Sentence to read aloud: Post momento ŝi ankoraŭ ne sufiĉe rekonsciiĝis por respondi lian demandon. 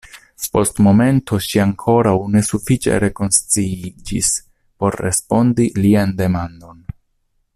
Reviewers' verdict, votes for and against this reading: accepted, 2, 0